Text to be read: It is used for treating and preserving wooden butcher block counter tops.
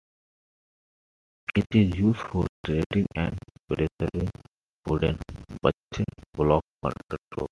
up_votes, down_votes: 0, 2